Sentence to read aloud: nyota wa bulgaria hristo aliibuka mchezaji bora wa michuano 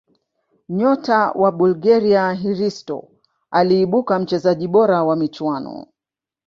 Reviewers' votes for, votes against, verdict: 1, 2, rejected